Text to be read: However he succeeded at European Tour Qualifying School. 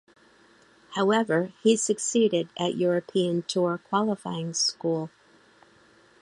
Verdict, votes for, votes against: accepted, 2, 0